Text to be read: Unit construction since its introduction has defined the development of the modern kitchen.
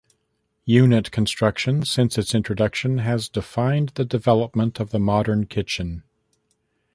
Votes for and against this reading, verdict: 2, 0, accepted